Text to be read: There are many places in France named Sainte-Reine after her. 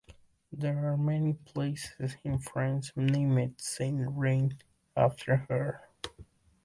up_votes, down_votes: 0, 2